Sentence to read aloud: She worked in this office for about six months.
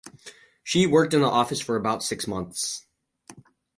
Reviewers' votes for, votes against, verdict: 0, 4, rejected